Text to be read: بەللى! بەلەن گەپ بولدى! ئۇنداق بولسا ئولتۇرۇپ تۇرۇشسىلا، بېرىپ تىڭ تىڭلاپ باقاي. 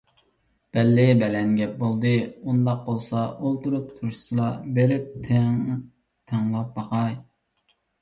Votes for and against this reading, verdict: 2, 1, accepted